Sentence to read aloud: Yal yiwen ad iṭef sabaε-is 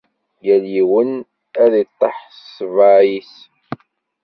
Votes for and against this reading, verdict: 1, 2, rejected